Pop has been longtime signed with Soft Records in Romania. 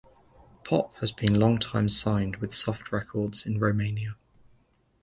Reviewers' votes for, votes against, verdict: 2, 0, accepted